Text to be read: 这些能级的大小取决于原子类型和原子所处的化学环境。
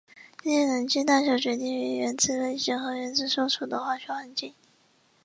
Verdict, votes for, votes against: rejected, 1, 2